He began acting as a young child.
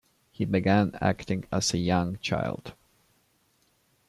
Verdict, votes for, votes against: accepted, 2, 0